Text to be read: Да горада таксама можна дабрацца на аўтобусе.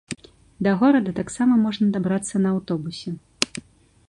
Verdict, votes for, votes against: accepted, 2, 0